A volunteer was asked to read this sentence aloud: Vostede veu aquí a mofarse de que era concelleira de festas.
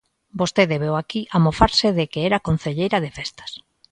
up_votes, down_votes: 2, 0